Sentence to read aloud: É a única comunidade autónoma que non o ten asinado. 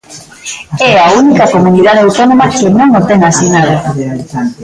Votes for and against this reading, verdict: 0, 2, rejected